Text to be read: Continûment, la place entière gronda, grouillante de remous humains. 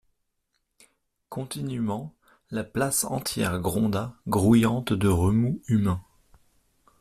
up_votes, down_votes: 2, 0